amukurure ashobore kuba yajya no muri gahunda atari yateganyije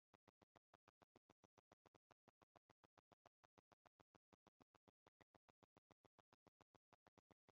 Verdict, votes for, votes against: rejected, 0, 2